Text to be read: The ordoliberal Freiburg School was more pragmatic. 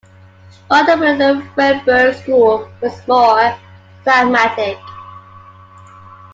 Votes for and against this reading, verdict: 2, 1, accepted